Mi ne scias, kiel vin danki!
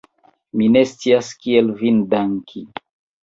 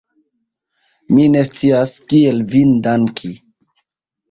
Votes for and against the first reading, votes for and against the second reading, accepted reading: 2, 1, 1, 2, first